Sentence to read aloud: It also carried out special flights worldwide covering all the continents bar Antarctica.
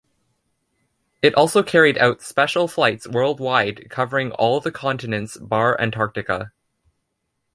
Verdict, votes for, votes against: accepted, 2, 0